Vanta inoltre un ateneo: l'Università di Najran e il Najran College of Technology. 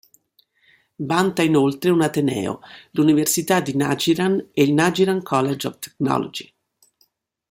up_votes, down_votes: 2, 0